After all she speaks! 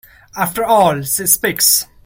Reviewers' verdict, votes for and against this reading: rejected, 0, 2